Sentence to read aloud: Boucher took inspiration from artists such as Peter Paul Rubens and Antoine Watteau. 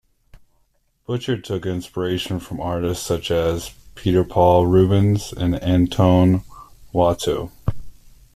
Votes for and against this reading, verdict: 2, 1, accepted